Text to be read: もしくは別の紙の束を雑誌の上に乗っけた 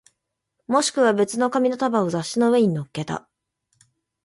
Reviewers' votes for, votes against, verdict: 2, 0, accepted